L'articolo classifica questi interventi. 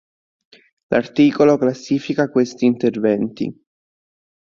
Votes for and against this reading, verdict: 2, 0, accepted